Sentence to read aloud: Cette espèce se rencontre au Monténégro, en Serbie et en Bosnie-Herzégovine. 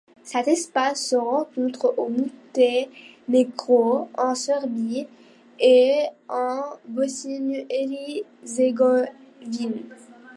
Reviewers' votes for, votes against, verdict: 2, 1, accepted